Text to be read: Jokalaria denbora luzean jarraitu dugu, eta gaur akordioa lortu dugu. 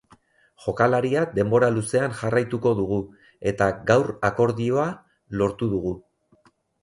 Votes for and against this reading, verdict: 0, 2, rejected